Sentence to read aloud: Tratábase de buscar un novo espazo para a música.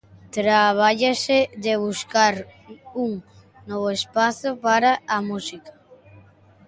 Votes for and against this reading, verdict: 0, 2, rejected